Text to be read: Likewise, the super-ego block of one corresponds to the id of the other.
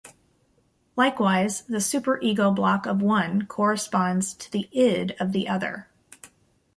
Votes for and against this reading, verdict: 2, 0, accepted